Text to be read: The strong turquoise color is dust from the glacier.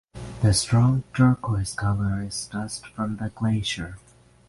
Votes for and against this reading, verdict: 6, 0, accepted